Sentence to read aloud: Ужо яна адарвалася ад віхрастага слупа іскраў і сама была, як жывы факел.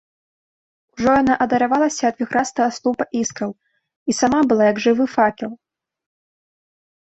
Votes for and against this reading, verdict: 1, 2, rejected